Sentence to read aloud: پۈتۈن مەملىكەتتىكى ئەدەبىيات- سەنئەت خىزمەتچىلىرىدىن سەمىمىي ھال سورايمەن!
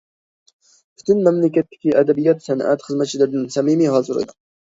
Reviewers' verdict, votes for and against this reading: accepted, 2, 0